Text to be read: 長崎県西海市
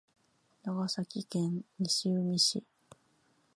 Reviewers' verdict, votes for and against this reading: accepted, 2, 0